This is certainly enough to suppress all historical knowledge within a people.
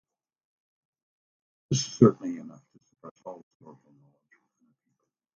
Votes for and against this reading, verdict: 0, 2, rejected